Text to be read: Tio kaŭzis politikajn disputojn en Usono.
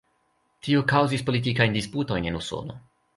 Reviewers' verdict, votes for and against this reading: accepted, 2, 0